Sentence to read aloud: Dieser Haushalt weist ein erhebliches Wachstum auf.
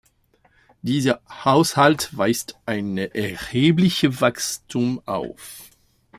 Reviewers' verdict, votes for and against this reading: rejected, 0, 2